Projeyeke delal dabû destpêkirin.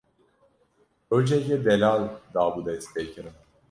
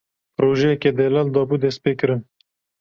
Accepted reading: second